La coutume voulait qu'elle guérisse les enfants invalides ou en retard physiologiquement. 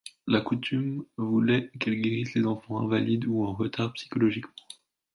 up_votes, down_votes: 2, 3